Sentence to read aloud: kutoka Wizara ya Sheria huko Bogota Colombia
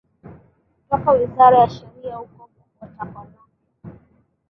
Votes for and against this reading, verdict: 0, 2, rejected